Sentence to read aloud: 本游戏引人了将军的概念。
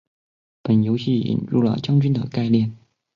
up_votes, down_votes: 4, 0